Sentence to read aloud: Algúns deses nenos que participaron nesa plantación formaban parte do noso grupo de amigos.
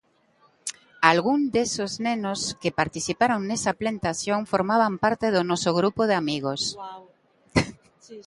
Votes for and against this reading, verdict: 1, 2, rejected